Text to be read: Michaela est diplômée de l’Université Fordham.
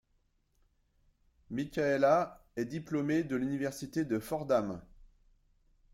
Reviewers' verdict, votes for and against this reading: rejected, 0, 2